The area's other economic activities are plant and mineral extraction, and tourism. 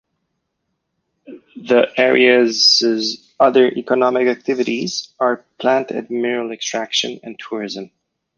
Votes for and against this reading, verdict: 1, 2, rejected